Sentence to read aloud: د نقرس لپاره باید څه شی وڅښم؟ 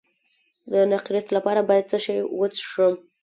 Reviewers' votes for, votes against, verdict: 0, 2, rejected